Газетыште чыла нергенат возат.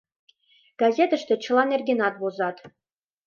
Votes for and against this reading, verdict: 2, 0, accepted